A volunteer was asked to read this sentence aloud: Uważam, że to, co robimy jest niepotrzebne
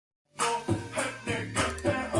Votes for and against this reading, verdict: 0, 2, rejected